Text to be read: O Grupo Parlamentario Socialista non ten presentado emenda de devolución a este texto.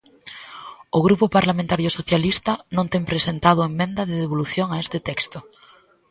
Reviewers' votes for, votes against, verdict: 1, 2, rejected